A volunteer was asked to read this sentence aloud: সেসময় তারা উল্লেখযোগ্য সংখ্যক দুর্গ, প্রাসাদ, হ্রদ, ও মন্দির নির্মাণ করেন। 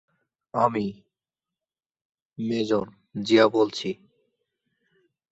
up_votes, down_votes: 0, 7